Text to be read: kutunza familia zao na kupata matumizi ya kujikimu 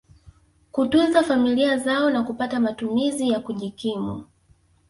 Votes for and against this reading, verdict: 0, 2, rejected